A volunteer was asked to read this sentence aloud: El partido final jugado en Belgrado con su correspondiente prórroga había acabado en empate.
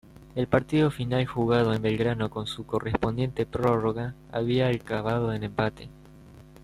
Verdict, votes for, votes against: rejected, 1, 2